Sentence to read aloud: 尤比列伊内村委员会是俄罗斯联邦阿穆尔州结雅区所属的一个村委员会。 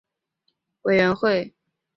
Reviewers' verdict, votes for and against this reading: rejected, 2, 5